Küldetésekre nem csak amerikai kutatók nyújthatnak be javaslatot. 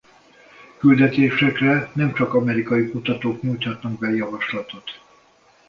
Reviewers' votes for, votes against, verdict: 2, 0, accepted